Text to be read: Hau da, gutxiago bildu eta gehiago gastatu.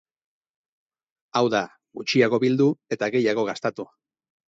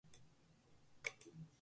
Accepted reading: first